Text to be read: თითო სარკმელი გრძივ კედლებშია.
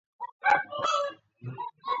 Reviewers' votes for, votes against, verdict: 1, 2, rejected